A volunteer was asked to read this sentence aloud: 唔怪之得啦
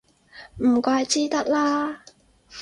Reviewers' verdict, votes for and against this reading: accepted, 4, 0